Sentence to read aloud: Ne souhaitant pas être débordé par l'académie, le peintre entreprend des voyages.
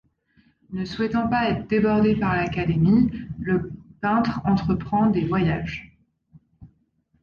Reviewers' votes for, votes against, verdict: 1, 2, rejected